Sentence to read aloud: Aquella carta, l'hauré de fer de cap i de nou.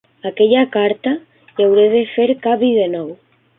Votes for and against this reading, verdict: 0, 2, rejected